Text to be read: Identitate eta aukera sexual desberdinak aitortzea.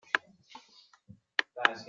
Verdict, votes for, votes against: rejected, 0, 2